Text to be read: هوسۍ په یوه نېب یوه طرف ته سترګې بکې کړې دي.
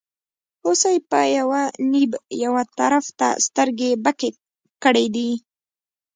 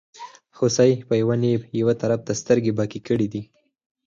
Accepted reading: second